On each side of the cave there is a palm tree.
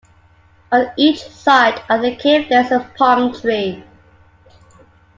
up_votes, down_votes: 2, 0